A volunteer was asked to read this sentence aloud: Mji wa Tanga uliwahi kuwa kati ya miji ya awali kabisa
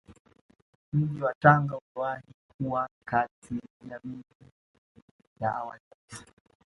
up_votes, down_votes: 1, 2